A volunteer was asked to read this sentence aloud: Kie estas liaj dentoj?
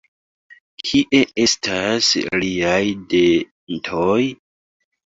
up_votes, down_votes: 2, 1